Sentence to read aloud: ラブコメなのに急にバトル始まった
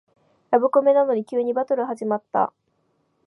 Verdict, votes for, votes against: rejected, 1, 2